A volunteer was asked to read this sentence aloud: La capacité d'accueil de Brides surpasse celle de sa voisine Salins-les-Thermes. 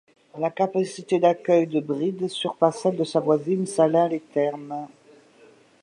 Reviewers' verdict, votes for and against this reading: accepted, 2, 0